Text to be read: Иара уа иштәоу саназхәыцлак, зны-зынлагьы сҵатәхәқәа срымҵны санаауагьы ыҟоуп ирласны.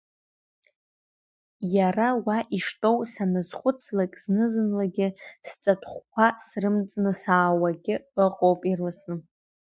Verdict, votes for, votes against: accepted, 2, 0